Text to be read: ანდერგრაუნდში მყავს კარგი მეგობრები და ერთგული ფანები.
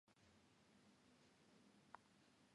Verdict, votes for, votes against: rejected, 0, 2